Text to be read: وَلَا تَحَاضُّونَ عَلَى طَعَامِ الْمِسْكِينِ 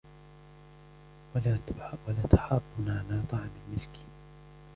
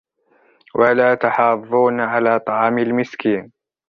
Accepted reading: second